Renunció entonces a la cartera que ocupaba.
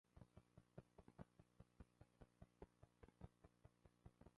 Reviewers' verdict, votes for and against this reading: rejected, 1, 2